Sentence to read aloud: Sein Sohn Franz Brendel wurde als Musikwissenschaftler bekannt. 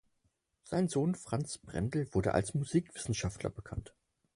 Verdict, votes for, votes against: accepted, 4, 0